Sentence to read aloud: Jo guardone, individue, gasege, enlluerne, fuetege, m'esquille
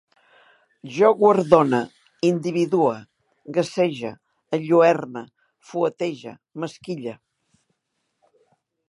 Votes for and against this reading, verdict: 2, 0, accepted